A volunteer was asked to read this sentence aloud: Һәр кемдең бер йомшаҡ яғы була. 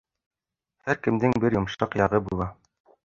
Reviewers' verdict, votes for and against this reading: rejected, 0, 2